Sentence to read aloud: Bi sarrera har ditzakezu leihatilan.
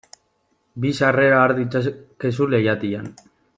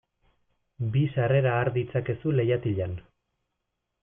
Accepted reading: second